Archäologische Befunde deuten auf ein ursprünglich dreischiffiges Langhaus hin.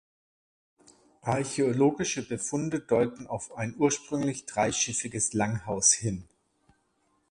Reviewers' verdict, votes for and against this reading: rejected, 0, 2